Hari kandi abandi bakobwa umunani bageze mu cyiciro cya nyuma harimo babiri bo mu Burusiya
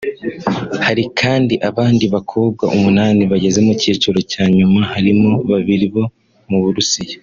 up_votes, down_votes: 2, 1